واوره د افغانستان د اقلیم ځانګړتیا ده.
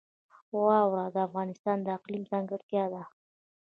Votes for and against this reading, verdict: 1, 2, rejected